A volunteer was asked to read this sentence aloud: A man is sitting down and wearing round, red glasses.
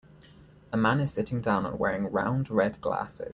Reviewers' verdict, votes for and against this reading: rejected, 1, 2